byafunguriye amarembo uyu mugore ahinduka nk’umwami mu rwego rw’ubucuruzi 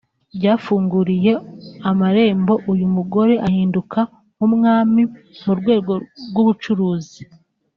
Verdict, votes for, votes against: accepted, 2, 1